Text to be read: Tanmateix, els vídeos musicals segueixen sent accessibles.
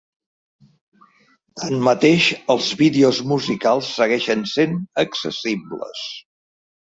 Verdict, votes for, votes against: rejected, 0, 2